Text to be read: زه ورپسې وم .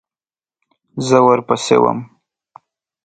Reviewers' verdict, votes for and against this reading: accepted, 3, 0